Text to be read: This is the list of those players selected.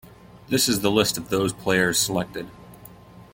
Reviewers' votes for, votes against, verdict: 2, 1, accepted